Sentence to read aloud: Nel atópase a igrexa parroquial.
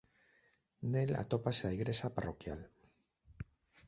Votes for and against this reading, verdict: 2, 0, accepted